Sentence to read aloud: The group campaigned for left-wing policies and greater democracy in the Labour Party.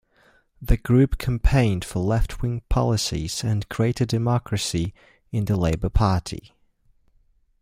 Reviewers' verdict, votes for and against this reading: rejected, 1, 2